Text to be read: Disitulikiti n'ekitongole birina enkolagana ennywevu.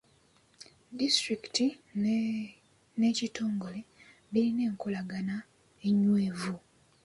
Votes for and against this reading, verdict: 1, 2, rejected